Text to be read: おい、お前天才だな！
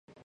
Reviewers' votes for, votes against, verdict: 0, 2, rejected